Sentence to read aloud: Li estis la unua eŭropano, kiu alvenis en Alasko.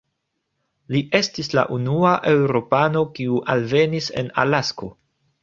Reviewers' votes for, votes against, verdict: 1, 2, rejected